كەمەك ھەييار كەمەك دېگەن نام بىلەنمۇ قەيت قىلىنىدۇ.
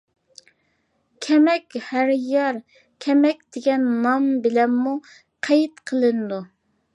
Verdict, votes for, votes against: rejected, 0, 2